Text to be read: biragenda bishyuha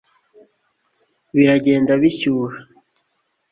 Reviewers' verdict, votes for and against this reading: accepted, 2, 0